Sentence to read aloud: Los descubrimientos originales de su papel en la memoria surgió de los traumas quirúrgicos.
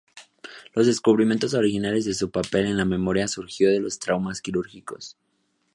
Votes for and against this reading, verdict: 2, 0, accepted